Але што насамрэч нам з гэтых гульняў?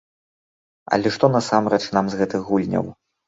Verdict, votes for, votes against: accepted, 2, 0